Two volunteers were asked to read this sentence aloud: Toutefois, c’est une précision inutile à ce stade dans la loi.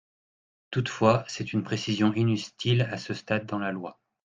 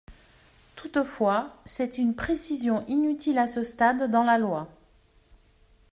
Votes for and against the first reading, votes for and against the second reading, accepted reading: 1, 2, 2, 0, second